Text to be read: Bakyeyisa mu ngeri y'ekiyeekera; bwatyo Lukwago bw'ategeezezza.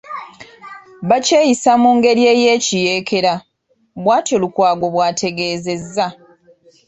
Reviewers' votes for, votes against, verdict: 2, 1, accepted